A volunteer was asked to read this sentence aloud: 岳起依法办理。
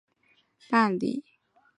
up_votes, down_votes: 0, 2